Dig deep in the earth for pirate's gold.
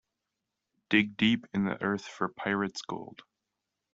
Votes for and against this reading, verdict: 2, 0, accepted